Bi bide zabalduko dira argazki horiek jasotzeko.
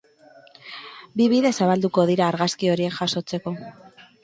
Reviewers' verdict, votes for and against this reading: accepted, 6, 0